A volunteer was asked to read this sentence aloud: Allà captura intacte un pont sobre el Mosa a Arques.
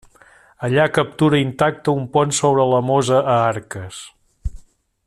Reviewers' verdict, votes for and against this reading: rejected, 0, 2